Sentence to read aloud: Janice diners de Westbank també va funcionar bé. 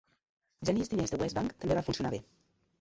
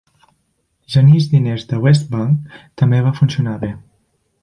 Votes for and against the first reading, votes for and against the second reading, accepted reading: 0, 2, 2, 0, second